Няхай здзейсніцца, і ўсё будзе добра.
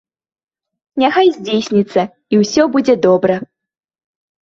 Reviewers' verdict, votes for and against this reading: accepted, 2, 0